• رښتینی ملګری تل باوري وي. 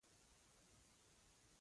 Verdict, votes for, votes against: rejected, 0, 2